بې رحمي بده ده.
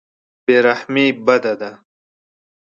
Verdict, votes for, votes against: accepted, 2, 0